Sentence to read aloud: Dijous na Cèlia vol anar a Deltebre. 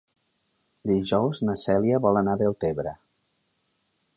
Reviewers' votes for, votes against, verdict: 3, 0, accepted